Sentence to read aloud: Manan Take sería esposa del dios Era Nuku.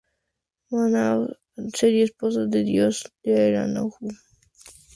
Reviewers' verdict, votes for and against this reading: rejected, 0, 2